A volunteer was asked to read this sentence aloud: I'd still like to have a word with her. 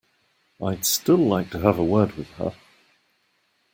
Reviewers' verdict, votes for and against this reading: accepted, 2, 0